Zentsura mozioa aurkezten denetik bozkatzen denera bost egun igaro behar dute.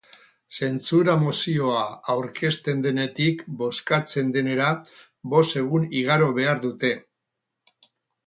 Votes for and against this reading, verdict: 0, 2, rejected